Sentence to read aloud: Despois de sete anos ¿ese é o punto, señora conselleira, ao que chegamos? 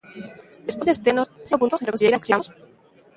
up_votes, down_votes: 0, 2